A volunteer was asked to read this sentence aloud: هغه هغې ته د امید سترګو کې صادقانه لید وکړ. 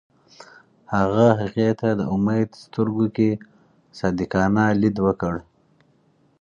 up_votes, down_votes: 4, 0